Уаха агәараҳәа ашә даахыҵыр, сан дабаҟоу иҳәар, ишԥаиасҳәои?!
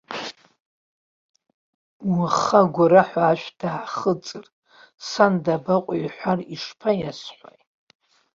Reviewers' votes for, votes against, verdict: 2, 0, accepted